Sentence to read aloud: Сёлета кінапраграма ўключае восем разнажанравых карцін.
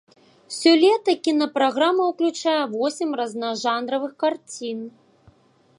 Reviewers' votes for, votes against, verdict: 2, 3, rejected